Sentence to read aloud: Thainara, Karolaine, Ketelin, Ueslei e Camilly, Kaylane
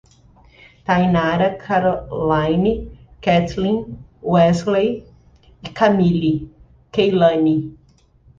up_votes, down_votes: 1, 2